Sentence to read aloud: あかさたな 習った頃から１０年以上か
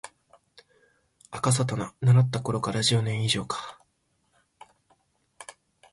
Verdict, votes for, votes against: rejected, 0, 2